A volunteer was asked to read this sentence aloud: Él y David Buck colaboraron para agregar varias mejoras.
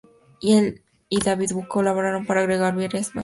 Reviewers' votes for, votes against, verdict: 0, 4, rejected